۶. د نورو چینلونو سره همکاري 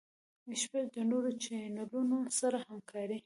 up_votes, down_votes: 0, 2